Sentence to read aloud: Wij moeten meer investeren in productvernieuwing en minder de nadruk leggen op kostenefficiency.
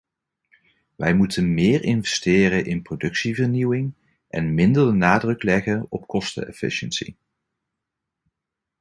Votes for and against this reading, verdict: 0, 2, rejected